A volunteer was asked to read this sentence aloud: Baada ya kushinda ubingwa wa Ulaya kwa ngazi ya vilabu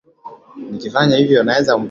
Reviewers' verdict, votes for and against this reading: rejected, 0, 3